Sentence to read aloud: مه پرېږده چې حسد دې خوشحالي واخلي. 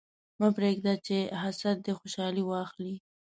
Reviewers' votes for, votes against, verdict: 2, 0, accepted